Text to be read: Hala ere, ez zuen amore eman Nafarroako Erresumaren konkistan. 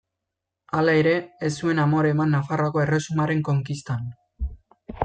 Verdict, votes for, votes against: accepted, 2, 0